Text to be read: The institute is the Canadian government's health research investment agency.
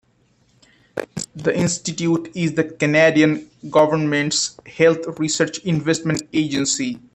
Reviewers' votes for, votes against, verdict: 2, 1, accepted